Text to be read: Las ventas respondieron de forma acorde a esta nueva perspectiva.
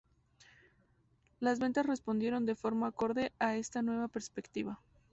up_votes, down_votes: 2, 2